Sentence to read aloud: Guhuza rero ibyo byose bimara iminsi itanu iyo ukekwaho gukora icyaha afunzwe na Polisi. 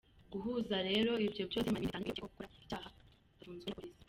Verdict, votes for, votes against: rejected, 0, 2